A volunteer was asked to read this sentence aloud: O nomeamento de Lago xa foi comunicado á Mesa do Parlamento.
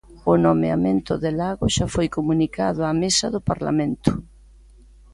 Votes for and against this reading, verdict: 2, 0, accepted